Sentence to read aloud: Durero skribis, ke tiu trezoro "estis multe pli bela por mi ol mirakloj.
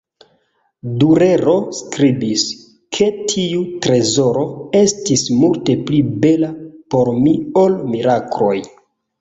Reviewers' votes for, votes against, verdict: 2, 0, accepted